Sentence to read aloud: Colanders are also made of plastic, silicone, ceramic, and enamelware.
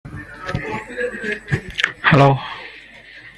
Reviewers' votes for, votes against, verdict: 1, 2, rejected